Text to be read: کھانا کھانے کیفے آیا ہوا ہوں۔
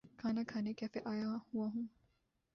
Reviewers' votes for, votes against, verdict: 0, 2, rejected